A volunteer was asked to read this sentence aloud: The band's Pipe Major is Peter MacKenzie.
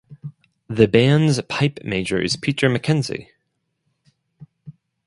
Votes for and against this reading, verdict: 2, 2, rejected